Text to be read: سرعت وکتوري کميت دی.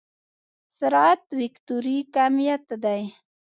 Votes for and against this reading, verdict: 1, 2, rejected